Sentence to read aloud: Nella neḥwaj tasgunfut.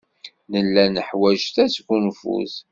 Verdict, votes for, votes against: accepted, 2, 0